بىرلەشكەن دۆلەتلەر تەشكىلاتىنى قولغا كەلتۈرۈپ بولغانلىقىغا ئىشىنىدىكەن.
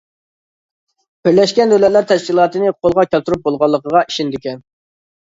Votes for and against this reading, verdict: 2, 0, accepted